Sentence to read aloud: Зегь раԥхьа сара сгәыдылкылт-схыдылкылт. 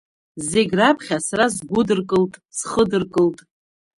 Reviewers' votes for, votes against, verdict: 0, 2, rejected